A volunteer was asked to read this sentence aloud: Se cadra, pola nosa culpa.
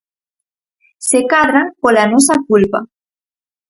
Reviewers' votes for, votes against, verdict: 4, 0, accepted